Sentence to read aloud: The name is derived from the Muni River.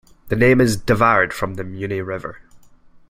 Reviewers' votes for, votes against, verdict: 0, 2, rejected